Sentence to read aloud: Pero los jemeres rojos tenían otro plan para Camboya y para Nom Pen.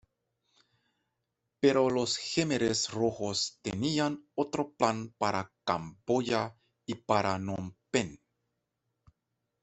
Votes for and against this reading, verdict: 1, 2, rejected